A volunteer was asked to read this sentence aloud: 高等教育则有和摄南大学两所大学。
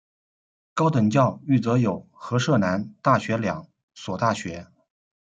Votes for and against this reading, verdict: 1, 2, rejected